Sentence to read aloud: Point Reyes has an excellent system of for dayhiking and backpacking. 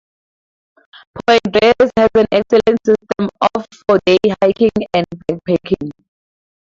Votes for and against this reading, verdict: 2, 4, rejected